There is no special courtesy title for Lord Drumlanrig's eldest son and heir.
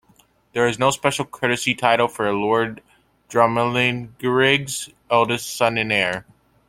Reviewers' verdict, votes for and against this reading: rejected, 0, 2